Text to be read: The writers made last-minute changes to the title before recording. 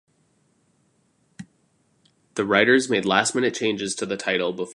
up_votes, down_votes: 0, 2